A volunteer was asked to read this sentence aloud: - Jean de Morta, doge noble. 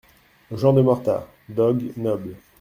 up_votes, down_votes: 0, 2